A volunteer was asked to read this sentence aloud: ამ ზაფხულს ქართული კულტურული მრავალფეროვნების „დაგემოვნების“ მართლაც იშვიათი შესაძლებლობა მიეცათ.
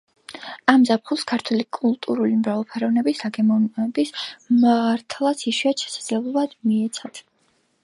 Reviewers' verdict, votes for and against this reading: rejected, 1, 2